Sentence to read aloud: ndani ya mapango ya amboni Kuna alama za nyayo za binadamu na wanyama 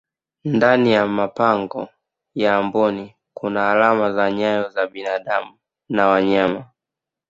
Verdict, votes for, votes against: accepted, 2, 0